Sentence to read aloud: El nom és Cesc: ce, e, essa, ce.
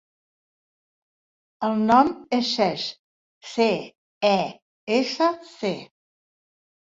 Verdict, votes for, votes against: rejected, 1, 2